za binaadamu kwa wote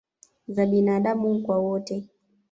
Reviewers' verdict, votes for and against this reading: accepted, 2, 0